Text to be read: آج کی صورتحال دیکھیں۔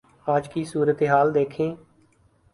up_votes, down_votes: 12, 1